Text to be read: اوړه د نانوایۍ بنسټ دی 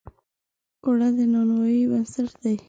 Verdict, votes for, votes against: rejected, 1, 2